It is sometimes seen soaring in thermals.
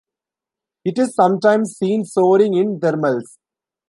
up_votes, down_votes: 3, 1